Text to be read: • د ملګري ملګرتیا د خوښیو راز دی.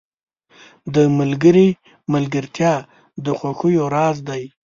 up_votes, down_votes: 2, 0